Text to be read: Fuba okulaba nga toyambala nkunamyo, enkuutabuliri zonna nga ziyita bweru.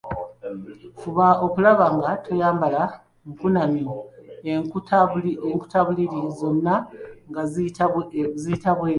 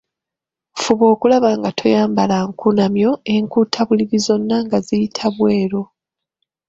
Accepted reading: second